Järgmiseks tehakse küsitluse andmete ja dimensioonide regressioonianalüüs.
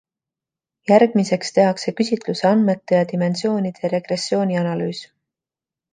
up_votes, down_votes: 2, 0